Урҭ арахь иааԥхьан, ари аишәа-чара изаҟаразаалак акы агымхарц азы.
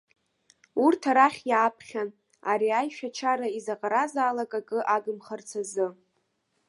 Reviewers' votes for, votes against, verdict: 2, 0, accepted